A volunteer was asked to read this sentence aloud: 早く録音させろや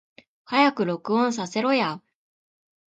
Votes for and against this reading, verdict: 2, 0, accepted